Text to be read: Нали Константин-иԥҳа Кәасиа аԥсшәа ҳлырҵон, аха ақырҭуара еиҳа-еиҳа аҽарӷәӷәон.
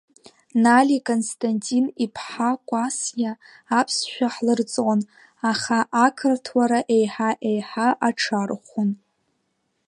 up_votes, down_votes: 4, 7